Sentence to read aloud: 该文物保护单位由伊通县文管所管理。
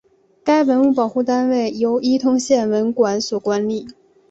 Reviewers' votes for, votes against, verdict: 2, 0, accepted